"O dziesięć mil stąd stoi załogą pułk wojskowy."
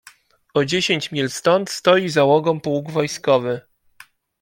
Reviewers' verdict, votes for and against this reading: accepted, 2, 0